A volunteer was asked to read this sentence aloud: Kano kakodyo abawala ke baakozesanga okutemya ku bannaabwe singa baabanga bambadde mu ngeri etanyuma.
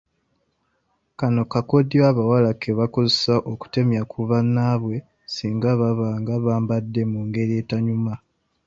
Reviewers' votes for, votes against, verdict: 2, 1, accepted